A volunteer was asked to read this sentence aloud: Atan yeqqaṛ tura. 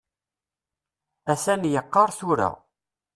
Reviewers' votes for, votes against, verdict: 2, 0, accepted